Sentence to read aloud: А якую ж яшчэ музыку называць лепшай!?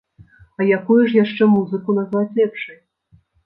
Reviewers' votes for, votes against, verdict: 0, 2, rejected